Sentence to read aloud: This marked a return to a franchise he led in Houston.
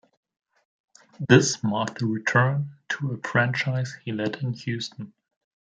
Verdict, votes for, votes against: accepted, 2, 0